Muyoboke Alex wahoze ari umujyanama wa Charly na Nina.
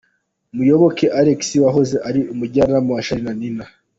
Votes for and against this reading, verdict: 2, 0, accepted